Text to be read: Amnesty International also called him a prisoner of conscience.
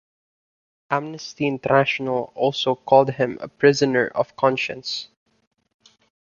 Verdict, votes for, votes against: accepted, 2, 0